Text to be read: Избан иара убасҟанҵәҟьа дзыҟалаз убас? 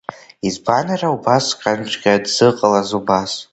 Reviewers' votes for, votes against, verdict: 2, 0, accepted